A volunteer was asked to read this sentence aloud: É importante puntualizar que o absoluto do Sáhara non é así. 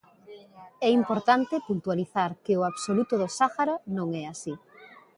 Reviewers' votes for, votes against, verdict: 0, 2, rejected